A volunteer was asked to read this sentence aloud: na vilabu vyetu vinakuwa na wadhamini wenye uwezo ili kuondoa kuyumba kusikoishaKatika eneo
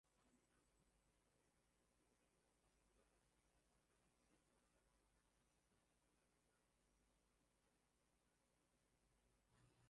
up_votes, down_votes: 0, 9